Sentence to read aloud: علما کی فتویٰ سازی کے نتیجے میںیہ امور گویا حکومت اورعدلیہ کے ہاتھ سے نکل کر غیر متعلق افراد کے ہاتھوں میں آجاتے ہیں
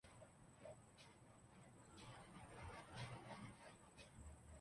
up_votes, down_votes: 0, 3